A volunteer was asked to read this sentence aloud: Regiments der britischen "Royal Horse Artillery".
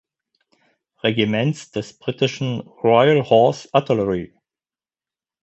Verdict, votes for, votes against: rejected, 0, 4